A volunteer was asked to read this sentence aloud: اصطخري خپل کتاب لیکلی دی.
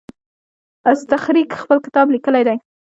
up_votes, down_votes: 1, 2